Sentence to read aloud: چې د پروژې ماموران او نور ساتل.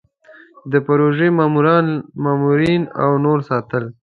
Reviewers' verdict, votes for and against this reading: rejected, 0, 2